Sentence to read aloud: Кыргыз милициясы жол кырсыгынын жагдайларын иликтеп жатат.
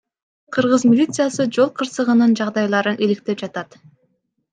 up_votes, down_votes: 1, 2